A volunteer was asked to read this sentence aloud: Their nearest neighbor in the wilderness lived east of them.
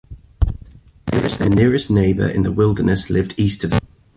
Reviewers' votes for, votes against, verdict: 1, 2, rejected